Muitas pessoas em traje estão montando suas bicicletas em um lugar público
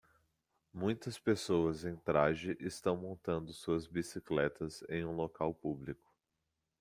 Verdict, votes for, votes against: accepted, 2, 0